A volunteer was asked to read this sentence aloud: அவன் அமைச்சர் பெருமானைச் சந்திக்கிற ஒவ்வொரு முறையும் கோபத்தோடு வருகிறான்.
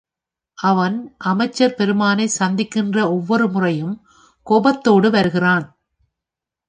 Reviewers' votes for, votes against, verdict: 4, 0, accepted